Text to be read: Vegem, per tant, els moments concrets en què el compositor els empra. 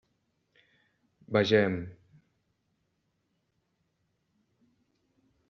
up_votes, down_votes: 0, 2